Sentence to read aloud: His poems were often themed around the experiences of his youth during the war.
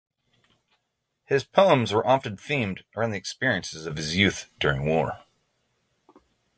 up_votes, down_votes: 0, 3